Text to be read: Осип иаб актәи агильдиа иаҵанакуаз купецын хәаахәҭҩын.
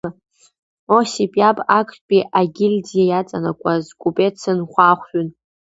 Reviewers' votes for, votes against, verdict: 2, 0, accepted